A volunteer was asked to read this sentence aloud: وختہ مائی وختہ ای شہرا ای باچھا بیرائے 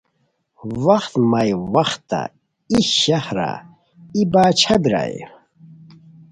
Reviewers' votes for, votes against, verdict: 2, 0, accepted